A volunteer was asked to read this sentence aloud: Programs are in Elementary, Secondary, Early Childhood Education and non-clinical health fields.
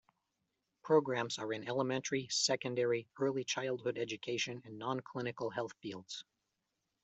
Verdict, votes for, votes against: accepted, 2, 0